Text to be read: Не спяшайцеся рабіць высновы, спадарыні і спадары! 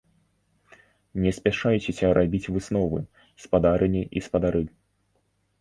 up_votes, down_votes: 2, 0